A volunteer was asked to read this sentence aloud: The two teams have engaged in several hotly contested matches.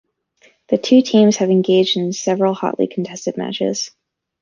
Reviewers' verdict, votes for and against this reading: accepted, 2, 0